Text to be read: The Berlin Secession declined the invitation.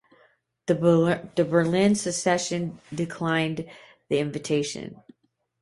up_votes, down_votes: 0, 2